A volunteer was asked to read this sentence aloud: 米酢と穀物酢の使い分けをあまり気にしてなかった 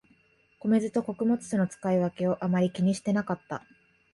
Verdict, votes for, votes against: accepted, 2, 0